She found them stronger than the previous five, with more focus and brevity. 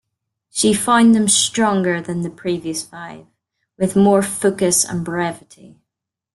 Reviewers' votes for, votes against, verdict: 0, 2, rejected